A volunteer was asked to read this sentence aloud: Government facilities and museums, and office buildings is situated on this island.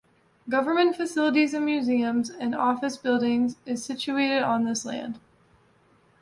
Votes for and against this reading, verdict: 0, 2, rejected